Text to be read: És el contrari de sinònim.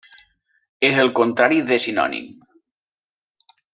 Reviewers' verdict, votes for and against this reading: rejected, 0, 2